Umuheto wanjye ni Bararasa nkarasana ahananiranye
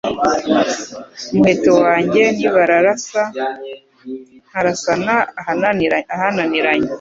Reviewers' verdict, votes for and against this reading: rejected, 0, 2